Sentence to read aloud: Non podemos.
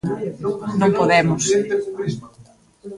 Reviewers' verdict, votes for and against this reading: rejected, 0, 2